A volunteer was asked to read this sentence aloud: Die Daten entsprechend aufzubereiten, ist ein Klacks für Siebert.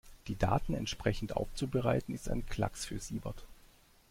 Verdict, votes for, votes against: accepted, 2, 0